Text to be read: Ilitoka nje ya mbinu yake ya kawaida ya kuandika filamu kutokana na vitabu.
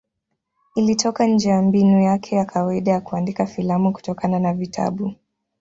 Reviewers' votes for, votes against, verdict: 2, 0, accepted